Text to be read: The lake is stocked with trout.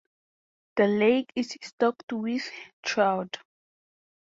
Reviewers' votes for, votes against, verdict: 2, 0, accepted